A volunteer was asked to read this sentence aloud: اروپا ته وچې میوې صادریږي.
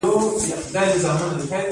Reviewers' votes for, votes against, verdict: 2, 1, accepted